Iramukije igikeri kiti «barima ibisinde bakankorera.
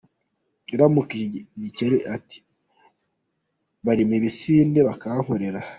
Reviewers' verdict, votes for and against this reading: rejected, 0, 2